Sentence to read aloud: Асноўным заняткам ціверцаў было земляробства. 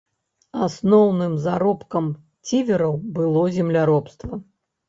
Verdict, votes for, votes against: rejected, 0, 2